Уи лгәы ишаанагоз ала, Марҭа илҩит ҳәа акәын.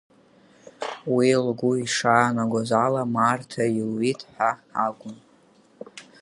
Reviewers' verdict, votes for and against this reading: accepted, 5, 1